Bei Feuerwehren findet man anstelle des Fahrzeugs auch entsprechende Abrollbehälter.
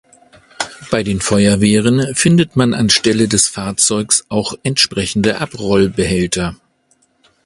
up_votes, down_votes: 0, 2